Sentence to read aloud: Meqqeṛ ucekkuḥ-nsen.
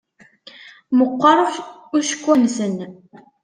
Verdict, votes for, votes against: rejected, 0, 2